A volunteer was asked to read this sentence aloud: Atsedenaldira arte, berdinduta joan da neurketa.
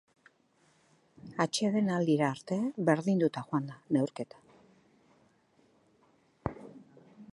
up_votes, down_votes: 4, 0